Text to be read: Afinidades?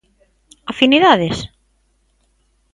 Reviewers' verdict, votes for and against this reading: accepted, 2, 0